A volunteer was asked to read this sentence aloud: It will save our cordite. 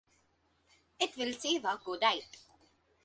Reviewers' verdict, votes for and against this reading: rejected, 0, 2